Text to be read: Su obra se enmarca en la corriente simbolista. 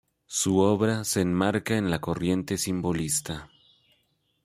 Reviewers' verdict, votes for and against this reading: accepted, 2, 0